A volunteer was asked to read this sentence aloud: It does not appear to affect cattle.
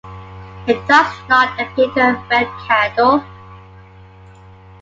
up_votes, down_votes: 2, 1